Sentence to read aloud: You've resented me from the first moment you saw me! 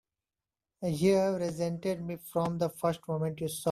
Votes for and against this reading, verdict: 1, 4, rejected